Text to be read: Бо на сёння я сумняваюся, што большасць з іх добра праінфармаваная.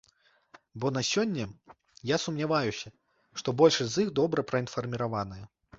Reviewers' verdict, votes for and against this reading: rejected, 1, 2